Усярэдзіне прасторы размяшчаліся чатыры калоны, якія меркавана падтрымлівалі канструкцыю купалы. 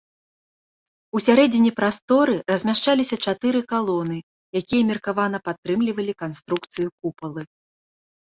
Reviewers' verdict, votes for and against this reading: accepted, 3, 0